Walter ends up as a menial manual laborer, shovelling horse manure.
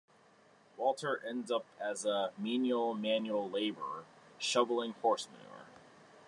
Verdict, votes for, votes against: rejected, 1, 2